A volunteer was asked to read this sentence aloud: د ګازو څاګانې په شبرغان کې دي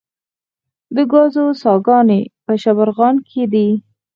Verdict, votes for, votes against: rejected, 2, 4